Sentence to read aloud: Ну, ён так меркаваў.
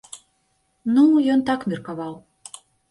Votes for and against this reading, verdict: 2, 0, accepted